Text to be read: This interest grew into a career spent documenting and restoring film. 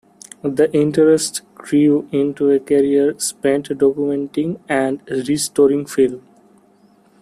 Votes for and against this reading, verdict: 1, 2, rejected